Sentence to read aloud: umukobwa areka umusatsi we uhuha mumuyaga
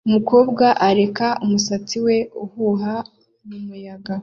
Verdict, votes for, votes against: accepted, 2, 0